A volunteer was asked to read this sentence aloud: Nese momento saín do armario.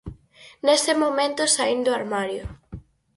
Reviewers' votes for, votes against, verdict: 4, 0, accepted